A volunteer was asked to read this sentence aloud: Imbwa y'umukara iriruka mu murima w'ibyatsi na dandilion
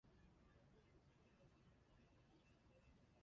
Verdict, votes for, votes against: rejected, 0, 2